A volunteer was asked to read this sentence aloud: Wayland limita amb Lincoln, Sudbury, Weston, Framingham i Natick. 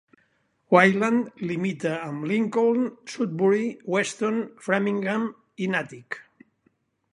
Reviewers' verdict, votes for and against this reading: accepted, 2, 0